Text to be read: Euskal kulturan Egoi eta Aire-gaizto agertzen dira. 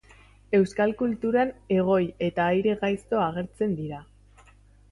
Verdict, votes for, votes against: accepted, 2, 0